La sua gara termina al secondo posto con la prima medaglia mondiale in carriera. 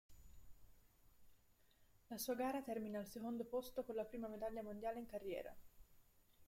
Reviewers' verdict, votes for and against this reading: accepted, 2, 1